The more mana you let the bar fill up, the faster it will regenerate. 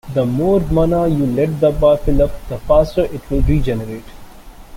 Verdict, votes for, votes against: accepted, 3, 1